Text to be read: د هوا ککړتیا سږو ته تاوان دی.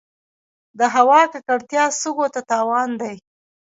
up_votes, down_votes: 1, 2